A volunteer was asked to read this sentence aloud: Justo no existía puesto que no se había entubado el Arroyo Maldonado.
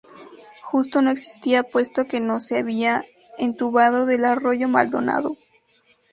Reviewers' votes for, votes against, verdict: 0, 2, rejected